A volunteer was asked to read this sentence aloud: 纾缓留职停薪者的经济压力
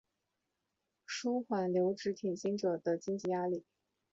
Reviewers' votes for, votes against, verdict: 2, 0, accepted